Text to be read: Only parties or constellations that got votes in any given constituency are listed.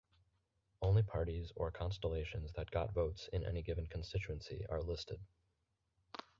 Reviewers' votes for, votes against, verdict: 4, 0, accepted